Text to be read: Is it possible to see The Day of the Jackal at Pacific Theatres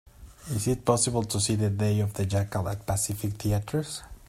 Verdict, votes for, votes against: accepted, 2, 0